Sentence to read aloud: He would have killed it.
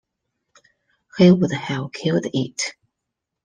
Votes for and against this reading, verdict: 2, 0, accepted